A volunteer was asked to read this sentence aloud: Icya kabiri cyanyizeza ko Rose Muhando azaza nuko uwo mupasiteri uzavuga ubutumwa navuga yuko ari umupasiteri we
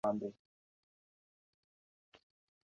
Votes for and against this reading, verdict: 0, 2, rejected